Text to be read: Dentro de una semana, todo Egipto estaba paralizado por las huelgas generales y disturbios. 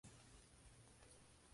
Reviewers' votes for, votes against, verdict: 0, 4, rejected